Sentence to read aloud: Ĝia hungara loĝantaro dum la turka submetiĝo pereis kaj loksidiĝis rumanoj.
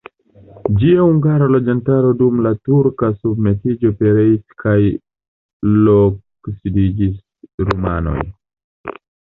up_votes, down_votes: 2, 0